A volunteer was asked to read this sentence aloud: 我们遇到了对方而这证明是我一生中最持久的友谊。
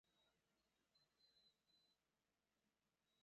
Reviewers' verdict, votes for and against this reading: rejected, 0, 2